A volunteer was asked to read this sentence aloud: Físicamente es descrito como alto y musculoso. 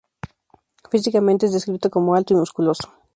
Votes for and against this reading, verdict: 2, 0, accepted